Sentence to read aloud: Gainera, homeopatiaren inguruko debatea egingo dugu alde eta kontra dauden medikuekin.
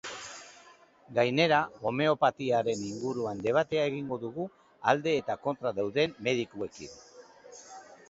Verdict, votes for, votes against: rejected, 0, 2